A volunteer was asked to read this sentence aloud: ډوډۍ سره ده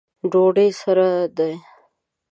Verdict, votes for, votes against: accepted, 2, 0